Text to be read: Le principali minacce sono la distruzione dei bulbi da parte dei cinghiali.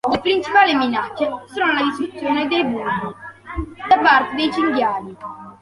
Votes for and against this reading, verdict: 0, 2, rejected